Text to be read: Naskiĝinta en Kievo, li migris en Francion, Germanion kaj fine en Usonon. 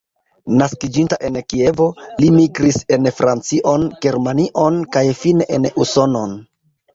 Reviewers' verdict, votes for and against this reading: accepted, 2, 1